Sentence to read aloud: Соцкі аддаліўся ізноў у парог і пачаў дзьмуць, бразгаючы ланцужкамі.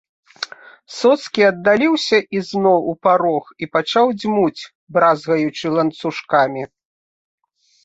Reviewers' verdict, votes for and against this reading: accepted, 2, 0